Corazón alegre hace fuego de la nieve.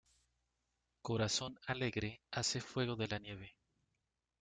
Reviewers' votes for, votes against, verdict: 2, 0, accepted